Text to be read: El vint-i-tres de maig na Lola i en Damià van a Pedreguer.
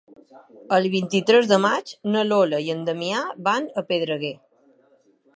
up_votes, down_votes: 3, 0